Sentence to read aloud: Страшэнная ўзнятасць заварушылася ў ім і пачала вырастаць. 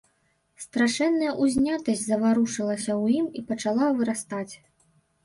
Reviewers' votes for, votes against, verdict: 1, 3, rejected